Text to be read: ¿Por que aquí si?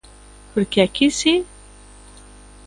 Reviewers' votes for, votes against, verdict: 2, 1, accepted